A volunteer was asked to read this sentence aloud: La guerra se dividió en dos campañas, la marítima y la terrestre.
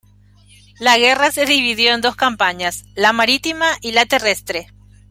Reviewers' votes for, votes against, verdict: 1, 2, rejected